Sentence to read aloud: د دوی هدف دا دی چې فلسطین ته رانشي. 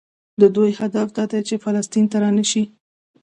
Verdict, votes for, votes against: accepted, 2, 0